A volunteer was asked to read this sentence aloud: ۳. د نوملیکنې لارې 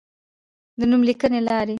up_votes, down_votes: 0, 2